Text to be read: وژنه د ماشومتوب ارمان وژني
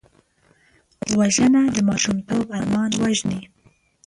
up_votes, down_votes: 2, 0